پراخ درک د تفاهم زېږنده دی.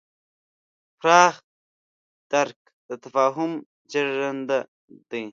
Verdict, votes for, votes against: rejected, 0, 2